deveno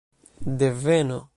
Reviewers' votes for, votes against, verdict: 2, 0, accepted